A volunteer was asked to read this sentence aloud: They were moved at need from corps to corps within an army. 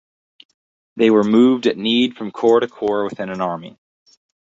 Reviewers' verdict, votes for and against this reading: accepted, 4, 0